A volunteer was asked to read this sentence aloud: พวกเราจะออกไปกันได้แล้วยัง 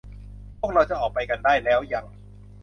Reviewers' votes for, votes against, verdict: 3, 0, accepted